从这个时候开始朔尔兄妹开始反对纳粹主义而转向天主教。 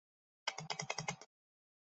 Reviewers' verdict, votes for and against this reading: rejected, 0, 3